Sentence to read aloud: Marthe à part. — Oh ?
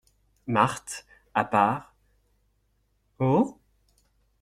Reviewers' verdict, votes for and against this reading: accepted, 2, 0